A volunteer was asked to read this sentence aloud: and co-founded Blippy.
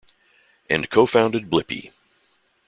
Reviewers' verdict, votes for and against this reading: accepted, 2, 0